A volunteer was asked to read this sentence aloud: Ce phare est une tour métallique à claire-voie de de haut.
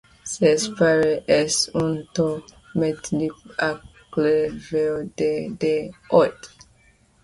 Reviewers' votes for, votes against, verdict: 0, 2, rejected